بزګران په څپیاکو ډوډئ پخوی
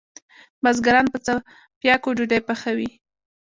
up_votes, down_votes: 3, 0